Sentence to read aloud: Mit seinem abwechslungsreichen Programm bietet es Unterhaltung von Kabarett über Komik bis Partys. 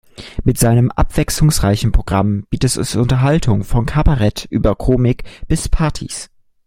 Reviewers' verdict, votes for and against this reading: rejected, 1, 2